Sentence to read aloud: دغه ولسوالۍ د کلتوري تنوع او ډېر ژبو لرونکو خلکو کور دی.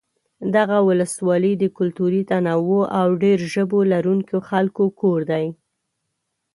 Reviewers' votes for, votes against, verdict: 2, 0, accepted